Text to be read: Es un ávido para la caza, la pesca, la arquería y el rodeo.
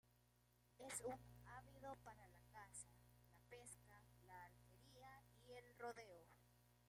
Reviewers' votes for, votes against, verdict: 1, 3, rejected